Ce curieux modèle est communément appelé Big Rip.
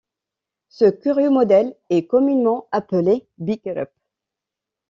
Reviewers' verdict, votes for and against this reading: accepted, 2, 0